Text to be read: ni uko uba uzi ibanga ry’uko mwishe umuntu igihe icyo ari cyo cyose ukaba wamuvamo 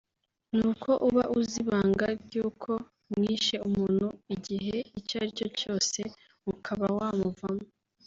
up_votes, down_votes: 2, 1